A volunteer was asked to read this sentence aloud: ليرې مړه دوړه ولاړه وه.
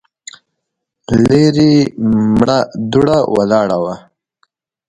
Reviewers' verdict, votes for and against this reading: accepted, 2, 0